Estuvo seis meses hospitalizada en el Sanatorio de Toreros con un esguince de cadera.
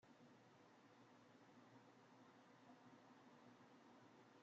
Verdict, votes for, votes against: rejected, 0, 2